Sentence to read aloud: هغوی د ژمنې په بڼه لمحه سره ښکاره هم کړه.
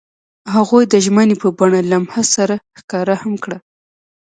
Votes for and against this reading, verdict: 2, 0, accepted